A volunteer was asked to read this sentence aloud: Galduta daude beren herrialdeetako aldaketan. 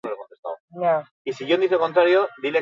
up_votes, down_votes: 0, 2